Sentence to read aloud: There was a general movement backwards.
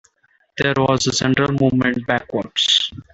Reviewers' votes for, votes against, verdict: 0, 3, rejected